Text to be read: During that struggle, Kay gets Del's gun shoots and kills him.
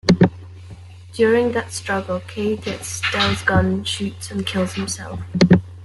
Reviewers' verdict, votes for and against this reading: rejected, 0, 2